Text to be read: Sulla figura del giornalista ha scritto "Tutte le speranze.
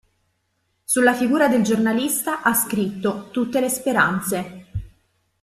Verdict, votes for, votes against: accepted, 2, 1